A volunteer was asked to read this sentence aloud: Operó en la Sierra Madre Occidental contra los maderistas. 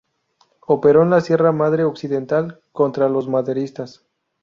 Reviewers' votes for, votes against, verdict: 0, 2, rejected